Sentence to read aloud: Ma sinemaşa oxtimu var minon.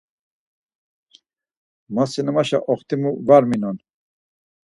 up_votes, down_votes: 4, 0